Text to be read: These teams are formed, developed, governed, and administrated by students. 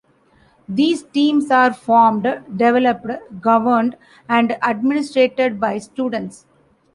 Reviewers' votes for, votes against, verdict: 2, 0, accepted